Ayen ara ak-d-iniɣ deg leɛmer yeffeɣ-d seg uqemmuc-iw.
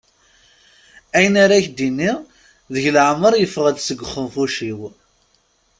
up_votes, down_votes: 1, 2